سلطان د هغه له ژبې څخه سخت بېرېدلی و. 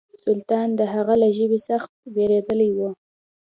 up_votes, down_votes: 2, 0